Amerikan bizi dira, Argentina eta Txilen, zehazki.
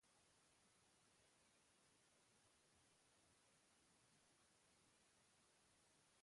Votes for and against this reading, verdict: 0, 2, rejected